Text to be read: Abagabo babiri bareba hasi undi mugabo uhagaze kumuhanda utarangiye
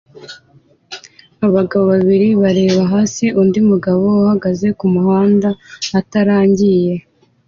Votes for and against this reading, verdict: 2, 0, accepted